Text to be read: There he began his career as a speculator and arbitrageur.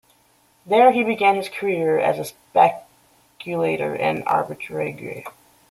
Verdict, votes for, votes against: rejected, 0, 2